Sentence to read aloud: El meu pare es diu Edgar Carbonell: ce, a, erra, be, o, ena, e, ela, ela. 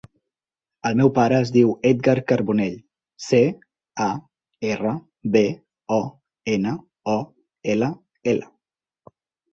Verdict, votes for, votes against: rejected, 0, 4